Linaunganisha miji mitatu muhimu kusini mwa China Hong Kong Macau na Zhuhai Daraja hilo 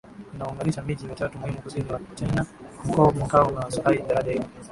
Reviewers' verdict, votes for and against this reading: rejected, 4, 5